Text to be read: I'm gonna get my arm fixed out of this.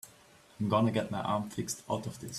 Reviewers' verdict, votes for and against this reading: accepted, 3, 0